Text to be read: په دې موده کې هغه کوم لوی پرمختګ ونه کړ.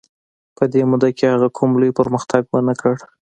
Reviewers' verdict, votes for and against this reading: accepted, 2, 0